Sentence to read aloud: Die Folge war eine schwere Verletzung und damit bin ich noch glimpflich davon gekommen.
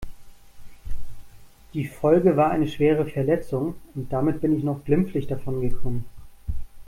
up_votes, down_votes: 2, 0